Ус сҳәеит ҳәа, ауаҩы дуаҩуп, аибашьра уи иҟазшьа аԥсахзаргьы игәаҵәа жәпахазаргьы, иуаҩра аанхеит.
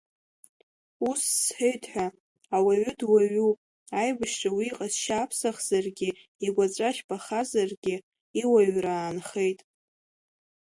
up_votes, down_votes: 2, 0